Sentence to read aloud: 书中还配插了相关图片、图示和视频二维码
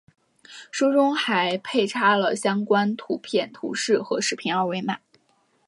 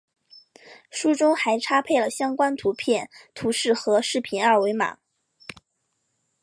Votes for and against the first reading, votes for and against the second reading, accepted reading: 5, 0, 1, 2, first